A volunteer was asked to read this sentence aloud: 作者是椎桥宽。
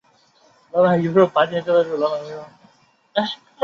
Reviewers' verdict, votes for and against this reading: rejected, 0, 4